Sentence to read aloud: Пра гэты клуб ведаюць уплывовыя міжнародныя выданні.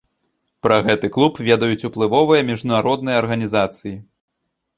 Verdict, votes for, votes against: rejected, 0, 2